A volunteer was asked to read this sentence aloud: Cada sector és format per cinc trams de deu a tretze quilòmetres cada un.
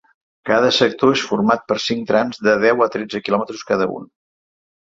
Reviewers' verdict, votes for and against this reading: accepted, 3, 0